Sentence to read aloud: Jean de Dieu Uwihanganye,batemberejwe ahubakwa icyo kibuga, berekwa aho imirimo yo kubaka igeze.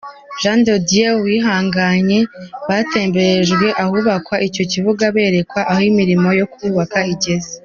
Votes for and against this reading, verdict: 2, 0, accepted